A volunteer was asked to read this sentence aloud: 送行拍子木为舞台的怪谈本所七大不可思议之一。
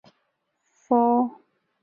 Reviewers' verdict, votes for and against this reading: rejected, 0, 4